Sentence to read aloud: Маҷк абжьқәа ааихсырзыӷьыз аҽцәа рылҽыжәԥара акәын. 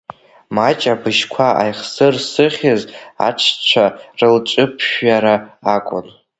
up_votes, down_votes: 0, 2